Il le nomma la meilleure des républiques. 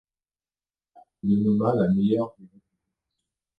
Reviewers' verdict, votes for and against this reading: rejected, 0, 2